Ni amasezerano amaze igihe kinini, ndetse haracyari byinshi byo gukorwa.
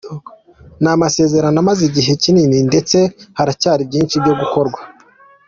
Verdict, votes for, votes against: accepted, 2, 0